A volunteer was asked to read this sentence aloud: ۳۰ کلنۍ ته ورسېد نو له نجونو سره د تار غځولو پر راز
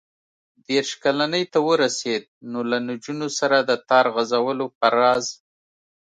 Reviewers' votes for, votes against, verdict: 0, 2, rejected